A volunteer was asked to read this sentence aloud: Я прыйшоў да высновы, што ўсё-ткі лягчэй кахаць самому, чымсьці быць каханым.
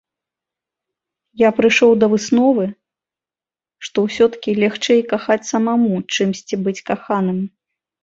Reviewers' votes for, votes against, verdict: 0, 2, rejected